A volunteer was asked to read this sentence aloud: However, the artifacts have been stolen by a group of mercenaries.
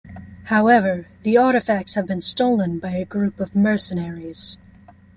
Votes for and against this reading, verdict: 2, 0, accepted